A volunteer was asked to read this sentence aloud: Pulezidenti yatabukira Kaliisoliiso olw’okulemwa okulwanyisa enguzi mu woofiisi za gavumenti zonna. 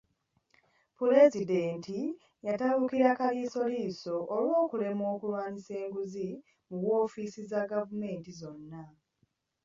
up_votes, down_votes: 2, 0